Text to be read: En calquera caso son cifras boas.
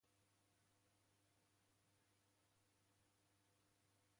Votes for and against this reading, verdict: 1, 2, rejected